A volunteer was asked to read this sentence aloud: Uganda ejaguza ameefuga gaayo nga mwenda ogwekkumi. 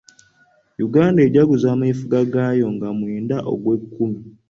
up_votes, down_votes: 2, 1